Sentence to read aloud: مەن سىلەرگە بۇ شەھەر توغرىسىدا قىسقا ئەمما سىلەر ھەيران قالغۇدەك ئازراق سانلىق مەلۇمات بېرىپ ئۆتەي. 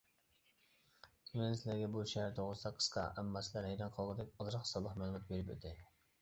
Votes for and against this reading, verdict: 1, 2, rejected